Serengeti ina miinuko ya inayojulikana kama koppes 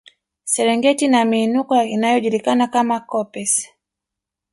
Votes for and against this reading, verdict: 1, 2, rejected